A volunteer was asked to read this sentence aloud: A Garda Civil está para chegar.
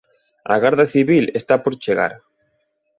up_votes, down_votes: 1, 2